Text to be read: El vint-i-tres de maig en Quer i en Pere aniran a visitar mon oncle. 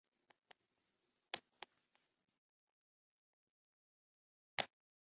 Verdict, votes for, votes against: rejected, 0, 2